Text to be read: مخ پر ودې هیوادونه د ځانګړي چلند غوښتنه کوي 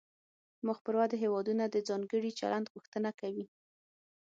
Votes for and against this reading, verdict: 6, 0, accepted